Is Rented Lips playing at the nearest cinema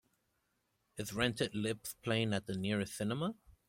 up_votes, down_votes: 2, 0